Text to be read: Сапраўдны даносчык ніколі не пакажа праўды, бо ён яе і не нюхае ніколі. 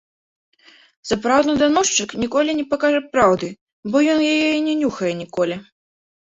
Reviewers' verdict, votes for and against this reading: accepted, 3, 0